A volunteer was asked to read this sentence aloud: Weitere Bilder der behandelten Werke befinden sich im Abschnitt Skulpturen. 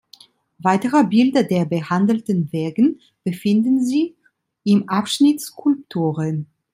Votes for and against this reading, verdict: 2, 1, accepted